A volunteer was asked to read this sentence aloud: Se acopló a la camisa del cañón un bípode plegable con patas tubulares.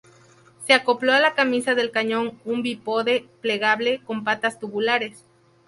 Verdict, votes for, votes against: rejected, 0, 2